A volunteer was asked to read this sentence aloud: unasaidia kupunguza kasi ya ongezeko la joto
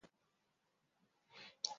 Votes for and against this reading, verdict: 0, 2, rejected